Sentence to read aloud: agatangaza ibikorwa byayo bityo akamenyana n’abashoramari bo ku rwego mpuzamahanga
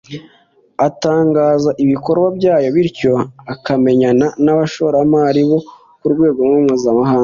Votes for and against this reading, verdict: 2, 0, accepted